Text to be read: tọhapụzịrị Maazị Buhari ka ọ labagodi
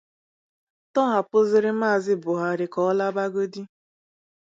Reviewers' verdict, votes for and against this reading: accepted, 2, 0